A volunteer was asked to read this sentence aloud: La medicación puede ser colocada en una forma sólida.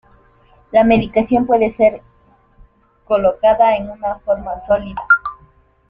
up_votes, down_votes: 2, 1